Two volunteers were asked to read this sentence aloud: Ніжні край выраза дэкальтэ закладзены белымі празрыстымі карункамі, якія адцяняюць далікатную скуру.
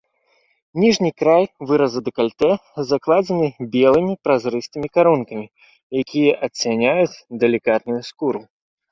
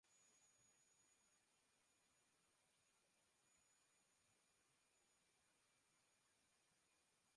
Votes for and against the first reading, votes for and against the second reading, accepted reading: 3, 0, 0, 2, first